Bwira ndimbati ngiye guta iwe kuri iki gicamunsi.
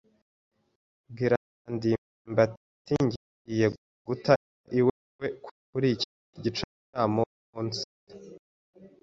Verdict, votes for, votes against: rejected, 0, 2